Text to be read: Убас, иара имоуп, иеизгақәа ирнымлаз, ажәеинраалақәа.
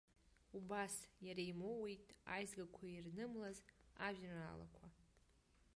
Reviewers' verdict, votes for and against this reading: rejected, 0, 2